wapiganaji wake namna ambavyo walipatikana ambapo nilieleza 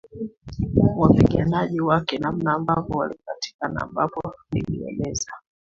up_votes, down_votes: 2, 1